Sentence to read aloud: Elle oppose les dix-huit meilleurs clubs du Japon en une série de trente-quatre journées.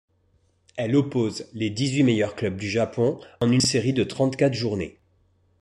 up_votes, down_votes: 2, 0